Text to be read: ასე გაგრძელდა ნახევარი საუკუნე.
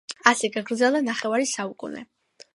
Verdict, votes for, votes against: accepted, 2, 0